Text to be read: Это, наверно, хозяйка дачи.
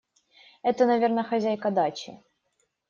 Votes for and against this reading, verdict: 2, 0, accepted